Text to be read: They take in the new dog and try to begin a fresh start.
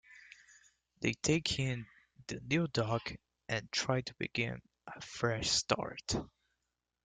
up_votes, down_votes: 2, 1